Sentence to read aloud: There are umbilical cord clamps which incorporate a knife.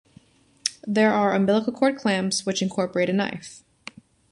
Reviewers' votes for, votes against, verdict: 2, 0, accepted